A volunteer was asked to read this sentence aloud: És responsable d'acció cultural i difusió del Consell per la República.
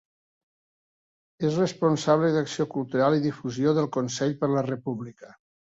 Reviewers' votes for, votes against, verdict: 2, 0, accepted